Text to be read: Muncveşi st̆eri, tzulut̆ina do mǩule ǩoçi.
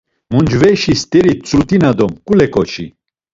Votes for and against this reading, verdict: 2, 1, accepted